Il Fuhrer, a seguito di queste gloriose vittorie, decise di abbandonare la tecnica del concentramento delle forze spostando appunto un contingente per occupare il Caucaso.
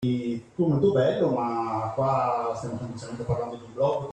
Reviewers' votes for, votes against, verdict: 0, 2, rejected